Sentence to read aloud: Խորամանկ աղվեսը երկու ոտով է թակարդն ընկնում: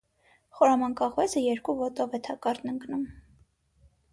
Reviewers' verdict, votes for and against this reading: accepted, 3, 0